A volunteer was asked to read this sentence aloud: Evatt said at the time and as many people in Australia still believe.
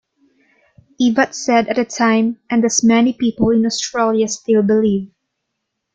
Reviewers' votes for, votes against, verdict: 1, 2, rejected